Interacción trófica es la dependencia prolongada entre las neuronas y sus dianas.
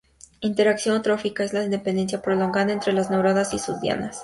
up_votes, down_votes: 2, 0